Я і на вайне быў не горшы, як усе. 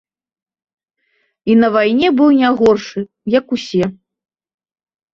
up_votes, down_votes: 0, 2